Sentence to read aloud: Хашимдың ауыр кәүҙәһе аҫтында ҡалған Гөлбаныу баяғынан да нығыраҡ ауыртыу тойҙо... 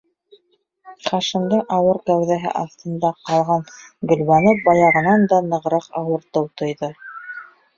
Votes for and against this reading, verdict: 1, 2, rejected